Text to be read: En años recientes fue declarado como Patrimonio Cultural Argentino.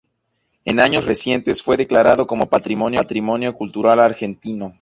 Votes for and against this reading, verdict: 2, 0, accepted